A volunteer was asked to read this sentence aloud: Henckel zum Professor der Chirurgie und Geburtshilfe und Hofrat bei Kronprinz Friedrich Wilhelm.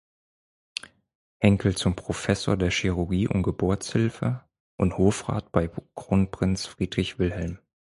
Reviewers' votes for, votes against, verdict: 2, 4, rejected